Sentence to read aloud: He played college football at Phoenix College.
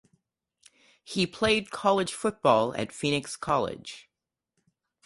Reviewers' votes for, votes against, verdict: 2, 2, rejected